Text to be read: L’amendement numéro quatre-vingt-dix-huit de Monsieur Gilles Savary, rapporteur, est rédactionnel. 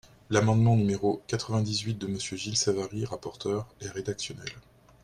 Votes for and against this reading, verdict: 2, 0, accepted